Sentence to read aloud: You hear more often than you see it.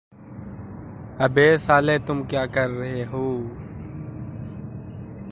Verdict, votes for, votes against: rejected, 0, 2